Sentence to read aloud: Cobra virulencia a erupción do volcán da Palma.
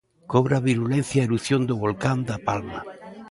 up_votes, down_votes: 2, 0